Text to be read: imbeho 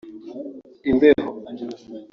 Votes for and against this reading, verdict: 1, 2, rejected